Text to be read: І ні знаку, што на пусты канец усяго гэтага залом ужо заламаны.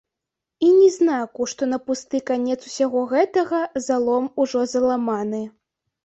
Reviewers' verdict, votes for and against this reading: accepted, 3, 0